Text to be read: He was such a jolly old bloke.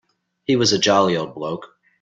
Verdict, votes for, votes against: rejected, 0, 2